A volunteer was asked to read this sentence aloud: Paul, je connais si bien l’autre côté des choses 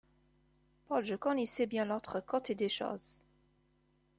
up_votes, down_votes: 3, 1